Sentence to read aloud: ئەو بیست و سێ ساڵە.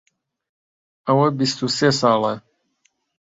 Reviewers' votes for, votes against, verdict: 1, 2, rejected